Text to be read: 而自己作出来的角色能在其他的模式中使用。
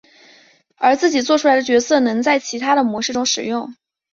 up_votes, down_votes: 3, 0